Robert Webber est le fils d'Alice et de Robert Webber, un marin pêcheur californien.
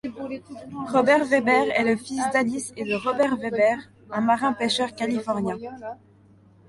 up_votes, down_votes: 2, 0